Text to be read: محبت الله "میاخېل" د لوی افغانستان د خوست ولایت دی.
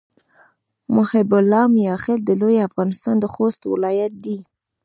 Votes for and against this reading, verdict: 1, 2, rejected